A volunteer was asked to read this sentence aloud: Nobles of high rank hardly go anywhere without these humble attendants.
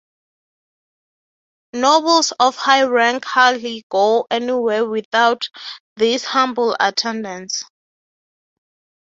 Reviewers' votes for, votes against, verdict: 6, 0, accepted